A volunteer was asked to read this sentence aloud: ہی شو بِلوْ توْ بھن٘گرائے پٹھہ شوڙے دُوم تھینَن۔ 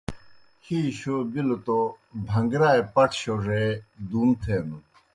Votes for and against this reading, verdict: 2, 0, accepted